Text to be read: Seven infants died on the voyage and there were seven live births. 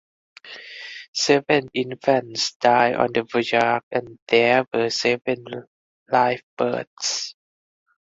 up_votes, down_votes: 0, 4